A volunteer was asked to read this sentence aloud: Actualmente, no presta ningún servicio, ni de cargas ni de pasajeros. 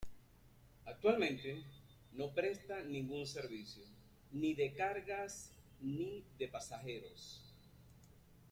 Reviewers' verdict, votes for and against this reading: rejected, 1, 2